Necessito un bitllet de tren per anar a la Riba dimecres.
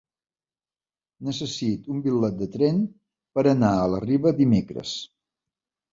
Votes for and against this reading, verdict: 1, 2, rejected